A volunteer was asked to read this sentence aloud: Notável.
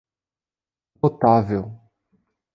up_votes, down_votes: 0, 2